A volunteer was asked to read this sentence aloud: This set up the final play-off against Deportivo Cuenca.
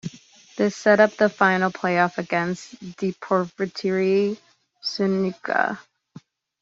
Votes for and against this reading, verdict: 1, 2, rejected